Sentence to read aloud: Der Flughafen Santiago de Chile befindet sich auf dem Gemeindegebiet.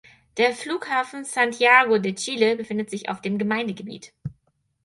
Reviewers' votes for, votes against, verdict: 4, 0, accepted